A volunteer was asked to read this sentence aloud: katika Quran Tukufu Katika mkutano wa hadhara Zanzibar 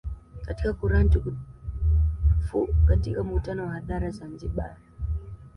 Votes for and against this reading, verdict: 1, 2, rejected